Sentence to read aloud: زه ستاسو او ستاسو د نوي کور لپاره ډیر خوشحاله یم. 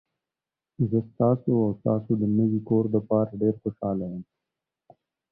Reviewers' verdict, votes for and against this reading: accepted, 2, 0